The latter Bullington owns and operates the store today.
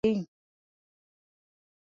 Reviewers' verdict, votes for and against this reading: rejected, 0, 2